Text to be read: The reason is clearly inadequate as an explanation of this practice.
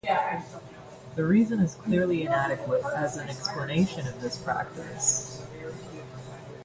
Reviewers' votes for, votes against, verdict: 1, 2, rejected